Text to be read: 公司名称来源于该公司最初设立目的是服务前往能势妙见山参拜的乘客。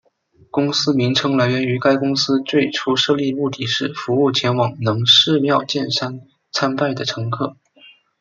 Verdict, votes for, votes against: accepted, 2, 0